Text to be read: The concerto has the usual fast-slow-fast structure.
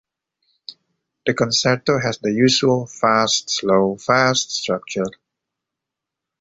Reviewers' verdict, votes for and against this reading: accepted, 2, 0